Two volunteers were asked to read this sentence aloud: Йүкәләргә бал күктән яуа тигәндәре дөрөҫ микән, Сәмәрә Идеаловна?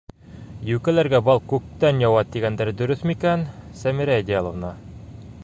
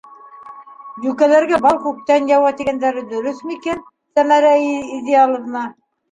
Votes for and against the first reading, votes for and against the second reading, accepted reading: 2, 0, 1, 2, first